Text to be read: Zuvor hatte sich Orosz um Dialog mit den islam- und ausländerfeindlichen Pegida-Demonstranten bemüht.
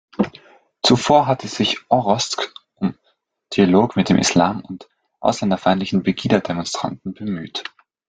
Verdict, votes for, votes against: rejected, 1, 2